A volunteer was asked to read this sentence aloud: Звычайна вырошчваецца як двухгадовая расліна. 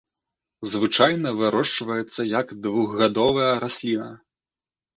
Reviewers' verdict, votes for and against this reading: accepted, 2, 0